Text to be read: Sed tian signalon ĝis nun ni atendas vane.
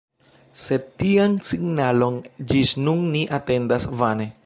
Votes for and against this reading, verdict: 2, 1, accepted